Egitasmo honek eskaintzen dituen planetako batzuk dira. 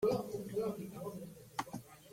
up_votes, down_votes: 0, 2